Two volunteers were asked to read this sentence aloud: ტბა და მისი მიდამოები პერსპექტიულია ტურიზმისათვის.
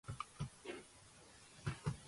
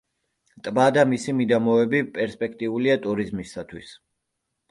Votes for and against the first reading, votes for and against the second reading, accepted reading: 0, 2, 3, 0, second